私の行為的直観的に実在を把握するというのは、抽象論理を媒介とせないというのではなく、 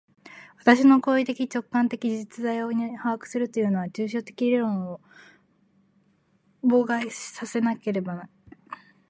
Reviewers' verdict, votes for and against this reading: rejected, 0, 2